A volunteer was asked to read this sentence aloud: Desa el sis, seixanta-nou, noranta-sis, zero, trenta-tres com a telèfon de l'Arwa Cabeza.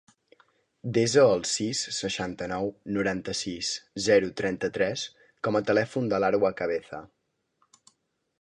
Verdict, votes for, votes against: accepted, 3, 0